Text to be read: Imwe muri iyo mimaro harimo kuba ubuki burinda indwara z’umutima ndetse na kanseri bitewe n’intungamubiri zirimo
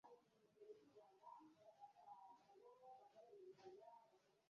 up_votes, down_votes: 0, 2